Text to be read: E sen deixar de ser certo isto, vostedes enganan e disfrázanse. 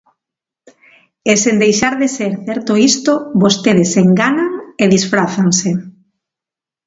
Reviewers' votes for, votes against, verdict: 2, 0, accepted